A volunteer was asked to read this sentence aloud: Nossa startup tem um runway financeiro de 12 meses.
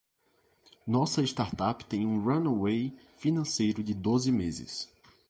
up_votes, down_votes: 0, 2